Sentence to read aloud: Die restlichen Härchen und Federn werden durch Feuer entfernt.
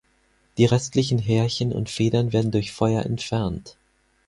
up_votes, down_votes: 4, 0